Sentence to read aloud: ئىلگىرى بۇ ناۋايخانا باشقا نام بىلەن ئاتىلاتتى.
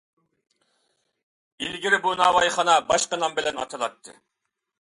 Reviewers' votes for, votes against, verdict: 2, 0, accepted